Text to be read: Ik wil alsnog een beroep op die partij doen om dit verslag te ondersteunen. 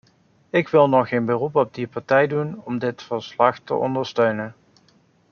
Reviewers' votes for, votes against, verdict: 0, 2, rejected